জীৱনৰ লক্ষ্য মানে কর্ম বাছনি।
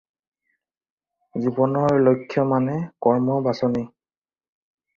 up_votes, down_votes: 4, 0